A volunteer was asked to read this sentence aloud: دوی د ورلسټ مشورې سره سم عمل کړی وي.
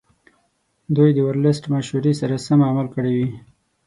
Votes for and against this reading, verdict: 6, 0, accepted